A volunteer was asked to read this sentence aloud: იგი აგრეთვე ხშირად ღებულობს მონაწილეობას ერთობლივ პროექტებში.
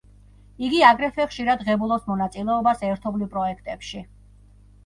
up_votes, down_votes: 1, 2